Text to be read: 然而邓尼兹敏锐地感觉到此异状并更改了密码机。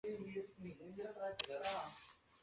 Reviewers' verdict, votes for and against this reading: rejected, 0, 2